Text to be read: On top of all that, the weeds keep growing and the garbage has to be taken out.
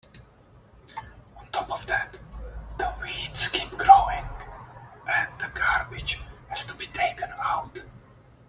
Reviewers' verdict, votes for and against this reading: rejected, 1, 2